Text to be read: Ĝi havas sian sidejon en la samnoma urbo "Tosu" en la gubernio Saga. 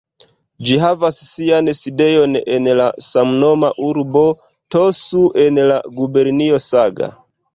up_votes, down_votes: 1, 2